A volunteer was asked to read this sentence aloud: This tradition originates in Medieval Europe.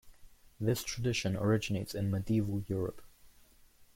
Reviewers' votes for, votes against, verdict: 1, 2, rejected